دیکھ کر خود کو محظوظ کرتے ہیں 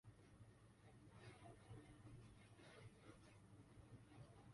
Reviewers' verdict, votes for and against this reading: rejected, 0, 2